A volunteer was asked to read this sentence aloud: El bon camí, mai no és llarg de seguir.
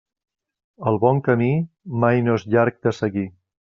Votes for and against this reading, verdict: 3, 0, accepted